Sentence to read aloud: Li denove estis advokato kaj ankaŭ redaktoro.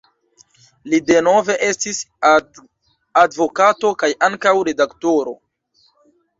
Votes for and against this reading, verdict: 0, 2, rejected